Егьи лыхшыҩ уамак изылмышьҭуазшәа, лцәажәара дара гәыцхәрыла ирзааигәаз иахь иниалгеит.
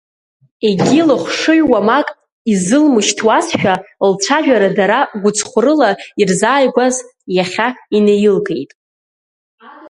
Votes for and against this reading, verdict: 1, 2, rejected